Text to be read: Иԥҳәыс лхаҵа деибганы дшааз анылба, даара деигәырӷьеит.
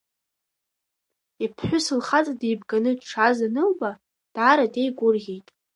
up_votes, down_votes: 2, 0